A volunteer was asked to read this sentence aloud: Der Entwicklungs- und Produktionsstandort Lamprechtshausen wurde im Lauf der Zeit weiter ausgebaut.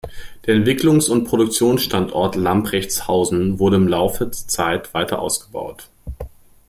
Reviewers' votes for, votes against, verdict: 0, 2, rejected